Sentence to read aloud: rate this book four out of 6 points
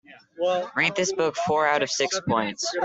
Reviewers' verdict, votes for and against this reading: rejected, 0, 2